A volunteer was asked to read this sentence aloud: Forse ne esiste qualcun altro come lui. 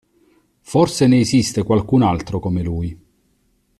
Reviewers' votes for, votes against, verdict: 2, 0, accepted